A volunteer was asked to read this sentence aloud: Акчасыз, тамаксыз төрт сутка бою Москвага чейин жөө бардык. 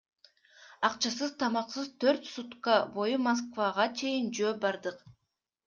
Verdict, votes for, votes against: accepted, 2, 0